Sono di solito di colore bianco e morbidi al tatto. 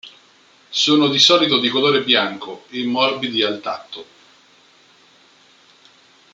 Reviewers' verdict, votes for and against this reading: accepted, 2, 0